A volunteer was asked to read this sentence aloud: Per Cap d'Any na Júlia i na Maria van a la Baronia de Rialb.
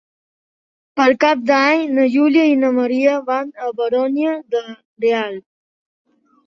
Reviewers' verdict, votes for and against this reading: rejected, 0, 2